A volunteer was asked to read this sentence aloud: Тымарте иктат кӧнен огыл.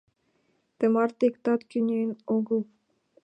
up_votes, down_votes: 3, 2